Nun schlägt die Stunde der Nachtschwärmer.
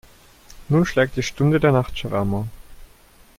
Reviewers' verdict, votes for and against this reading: accepted, 2, 0